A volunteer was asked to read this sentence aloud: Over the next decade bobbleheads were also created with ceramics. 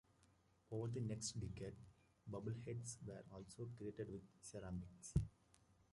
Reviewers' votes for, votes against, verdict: 2, 1, accepted